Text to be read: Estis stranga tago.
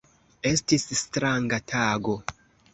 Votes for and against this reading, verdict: 2, 0, accepted